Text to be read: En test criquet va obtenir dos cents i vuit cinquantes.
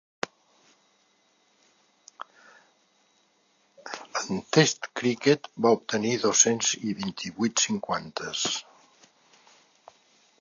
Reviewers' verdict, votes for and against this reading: rejected, 0, 3